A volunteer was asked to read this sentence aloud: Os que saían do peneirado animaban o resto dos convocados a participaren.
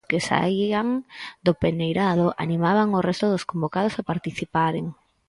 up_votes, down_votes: 0, 4